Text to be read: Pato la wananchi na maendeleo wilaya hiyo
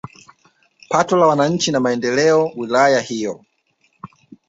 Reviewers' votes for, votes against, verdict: 4, 1, accepted